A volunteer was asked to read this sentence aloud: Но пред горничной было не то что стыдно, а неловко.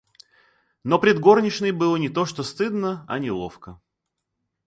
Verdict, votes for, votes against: accepted, 2, 0